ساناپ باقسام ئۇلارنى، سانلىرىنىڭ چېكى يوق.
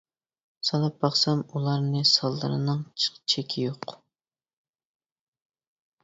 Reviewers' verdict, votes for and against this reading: rejected, 0, 2